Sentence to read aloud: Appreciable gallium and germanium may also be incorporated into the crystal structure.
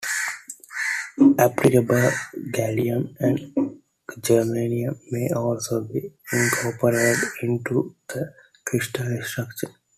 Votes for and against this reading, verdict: 2, 1, accepted